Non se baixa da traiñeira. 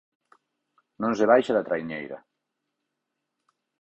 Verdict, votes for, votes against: rejected, 2, 4